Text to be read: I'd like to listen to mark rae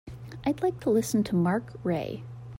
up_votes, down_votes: 2, 0